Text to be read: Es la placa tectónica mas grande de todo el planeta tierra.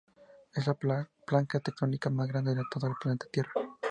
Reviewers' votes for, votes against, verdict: 0, 2, rejected